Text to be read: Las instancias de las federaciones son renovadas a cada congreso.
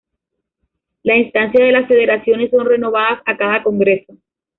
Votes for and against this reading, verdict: 1, 2, rejected